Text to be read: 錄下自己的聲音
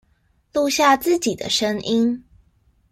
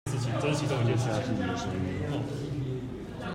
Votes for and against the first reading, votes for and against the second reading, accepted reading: 2, 0, 0, 2, first